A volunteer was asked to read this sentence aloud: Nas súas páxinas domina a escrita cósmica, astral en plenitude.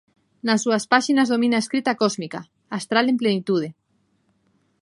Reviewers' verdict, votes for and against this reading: accepted, 2, 0